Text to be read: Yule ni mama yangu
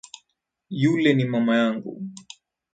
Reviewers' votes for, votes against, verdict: 8, 2, accepted